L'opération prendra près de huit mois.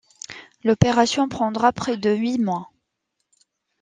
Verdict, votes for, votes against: accepted, 2, 0